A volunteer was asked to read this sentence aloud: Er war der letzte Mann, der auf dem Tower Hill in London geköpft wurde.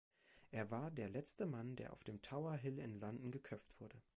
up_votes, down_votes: 2, 0